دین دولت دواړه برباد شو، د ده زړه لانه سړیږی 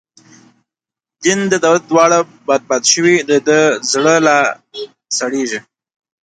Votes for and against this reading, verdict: 0, 2, rejected